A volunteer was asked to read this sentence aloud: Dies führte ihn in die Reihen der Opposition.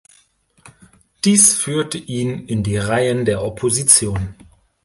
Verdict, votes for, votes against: accepted, 2, 0